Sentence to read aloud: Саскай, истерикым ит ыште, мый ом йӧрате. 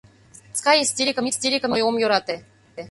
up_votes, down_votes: 0, 2